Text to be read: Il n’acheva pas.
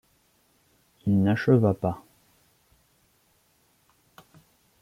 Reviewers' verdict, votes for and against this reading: accepted, 2, 0